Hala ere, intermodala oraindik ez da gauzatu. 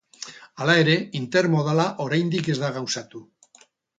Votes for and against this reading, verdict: 4, 0, accepted